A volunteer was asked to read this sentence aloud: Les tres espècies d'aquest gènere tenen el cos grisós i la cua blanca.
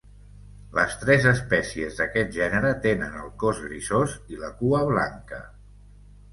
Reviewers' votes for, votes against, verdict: 1, 2, rejected